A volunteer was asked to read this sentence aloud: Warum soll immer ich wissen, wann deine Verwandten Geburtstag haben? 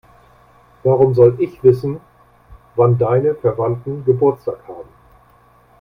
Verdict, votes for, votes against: rejected, 0, 2